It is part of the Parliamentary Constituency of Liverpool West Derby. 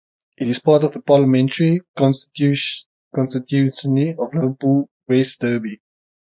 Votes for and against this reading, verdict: 0, 3, rejected